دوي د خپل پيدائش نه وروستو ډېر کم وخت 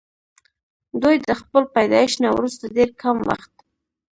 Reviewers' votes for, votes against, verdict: 0, 2, rejected